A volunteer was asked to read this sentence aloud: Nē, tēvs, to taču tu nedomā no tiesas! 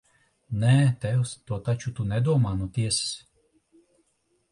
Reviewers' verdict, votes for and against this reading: accepted, 2, 0